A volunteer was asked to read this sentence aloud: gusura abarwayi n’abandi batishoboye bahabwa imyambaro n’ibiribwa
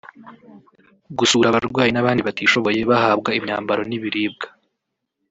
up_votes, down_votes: 1, 2